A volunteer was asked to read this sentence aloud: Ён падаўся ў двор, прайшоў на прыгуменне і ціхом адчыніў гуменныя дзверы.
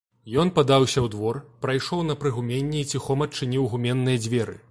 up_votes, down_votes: 2, 0